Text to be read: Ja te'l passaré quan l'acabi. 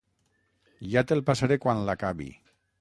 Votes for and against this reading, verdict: 6, 0, accepted